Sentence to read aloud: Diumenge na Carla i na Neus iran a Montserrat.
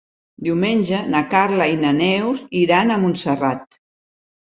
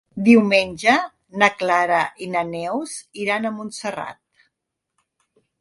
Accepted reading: first